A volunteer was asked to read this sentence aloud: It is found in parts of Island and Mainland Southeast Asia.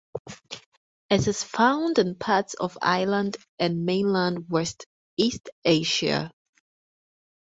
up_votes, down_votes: 0, 4